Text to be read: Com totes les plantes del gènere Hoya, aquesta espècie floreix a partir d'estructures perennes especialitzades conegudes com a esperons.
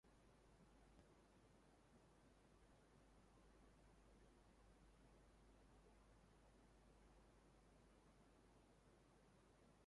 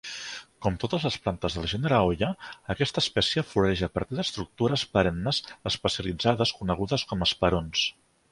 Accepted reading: second